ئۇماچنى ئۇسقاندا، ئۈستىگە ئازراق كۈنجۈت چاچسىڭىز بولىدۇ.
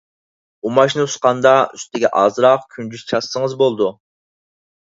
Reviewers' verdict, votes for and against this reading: accepted, 4, 0